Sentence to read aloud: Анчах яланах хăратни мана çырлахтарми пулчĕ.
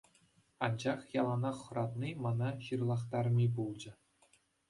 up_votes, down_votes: 2, 0